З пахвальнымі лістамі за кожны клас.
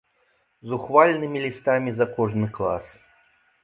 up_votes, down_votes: 0, 2